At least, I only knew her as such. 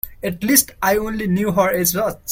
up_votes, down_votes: 0, 2